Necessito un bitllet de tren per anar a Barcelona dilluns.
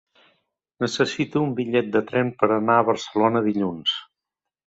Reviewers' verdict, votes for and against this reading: accepted, 3, 0